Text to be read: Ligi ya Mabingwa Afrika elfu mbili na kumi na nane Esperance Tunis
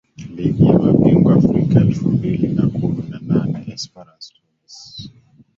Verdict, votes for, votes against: rejected, 1, 2